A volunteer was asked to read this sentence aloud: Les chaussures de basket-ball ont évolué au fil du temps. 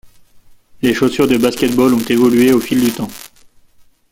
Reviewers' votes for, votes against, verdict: 2, 0, accepted